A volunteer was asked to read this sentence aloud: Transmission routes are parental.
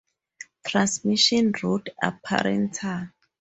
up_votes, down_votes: 0, 4